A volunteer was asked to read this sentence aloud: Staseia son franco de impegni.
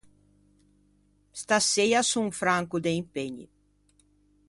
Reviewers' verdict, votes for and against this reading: accepted, 2, 0